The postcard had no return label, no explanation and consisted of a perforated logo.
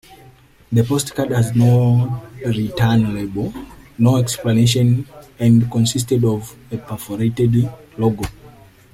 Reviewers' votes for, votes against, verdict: 0, 2, rejected